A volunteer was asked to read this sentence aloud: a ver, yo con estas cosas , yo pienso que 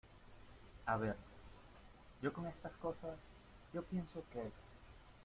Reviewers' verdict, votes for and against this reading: rejected, 1, 2